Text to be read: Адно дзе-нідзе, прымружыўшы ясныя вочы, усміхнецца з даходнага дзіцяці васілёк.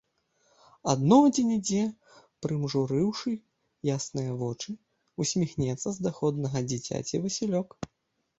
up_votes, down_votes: 1, 2